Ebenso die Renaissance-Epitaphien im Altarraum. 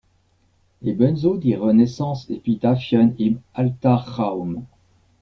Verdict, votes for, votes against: rejected, 1, 2